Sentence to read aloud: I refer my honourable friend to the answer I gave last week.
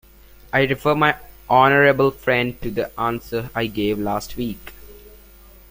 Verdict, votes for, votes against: accepted, 2, 0